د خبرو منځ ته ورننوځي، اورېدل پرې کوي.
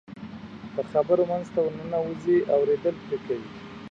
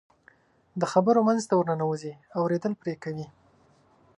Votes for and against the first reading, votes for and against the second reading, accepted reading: 1, 2, 2, 0, second